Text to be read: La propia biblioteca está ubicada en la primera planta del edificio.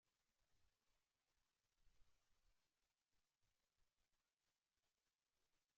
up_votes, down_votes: 0, 3